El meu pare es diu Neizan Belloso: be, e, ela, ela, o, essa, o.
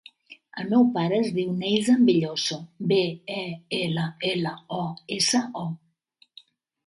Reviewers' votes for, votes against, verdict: 2, 0, accepted